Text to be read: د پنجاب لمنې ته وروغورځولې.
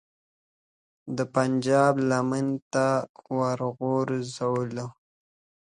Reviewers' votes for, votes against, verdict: 2, 1, accepted